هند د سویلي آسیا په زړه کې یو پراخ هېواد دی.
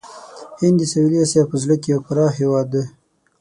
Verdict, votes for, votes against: rejected, 3, 6